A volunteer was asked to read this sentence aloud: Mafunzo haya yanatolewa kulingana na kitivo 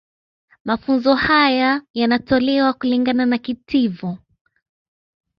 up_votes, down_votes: 2, 1